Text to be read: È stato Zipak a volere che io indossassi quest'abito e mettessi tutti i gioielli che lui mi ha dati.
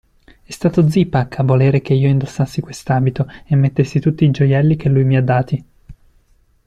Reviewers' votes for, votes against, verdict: 2, 0, accepted